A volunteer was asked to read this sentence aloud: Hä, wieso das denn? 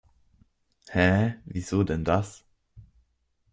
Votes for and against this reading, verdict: 0, 2, rejected